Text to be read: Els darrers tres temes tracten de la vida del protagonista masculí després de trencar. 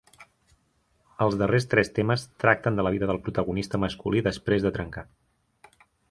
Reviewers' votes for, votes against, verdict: 4, 0, accepted